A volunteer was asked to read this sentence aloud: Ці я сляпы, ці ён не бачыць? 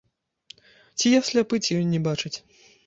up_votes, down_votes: 2, 0